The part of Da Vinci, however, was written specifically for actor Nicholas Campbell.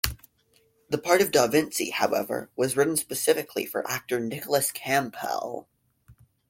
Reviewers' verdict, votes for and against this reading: accepted, 3, 1